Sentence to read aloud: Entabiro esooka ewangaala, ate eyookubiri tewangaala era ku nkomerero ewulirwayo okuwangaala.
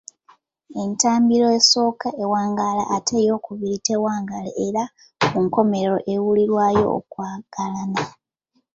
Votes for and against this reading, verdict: 1, 2, rejected